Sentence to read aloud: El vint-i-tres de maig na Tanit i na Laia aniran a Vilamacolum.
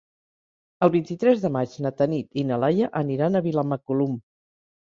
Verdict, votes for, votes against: accepted, 3, 0